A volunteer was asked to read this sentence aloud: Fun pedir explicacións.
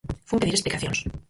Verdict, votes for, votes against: rejected, 0, 6